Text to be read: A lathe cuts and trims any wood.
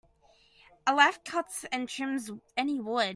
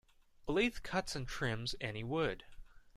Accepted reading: second